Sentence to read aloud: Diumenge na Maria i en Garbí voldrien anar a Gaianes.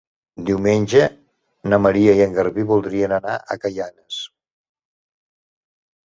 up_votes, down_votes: 1, 2